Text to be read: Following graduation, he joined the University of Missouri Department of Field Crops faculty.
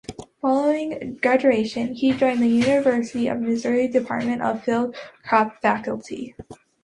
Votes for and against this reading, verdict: 3, 1, accepted